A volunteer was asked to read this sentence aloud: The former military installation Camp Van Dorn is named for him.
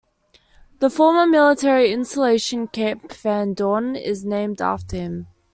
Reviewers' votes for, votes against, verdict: 0, 2, rejected